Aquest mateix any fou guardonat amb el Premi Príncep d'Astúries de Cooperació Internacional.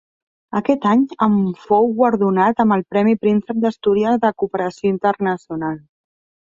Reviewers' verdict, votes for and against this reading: rejected, 1, 2